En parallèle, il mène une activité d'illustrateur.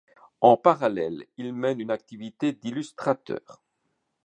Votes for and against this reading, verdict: 2, 0, accepted